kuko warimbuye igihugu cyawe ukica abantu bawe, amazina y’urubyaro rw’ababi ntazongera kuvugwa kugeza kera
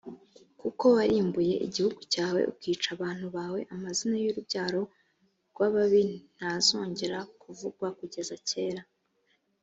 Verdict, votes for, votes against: accepted, 2, 0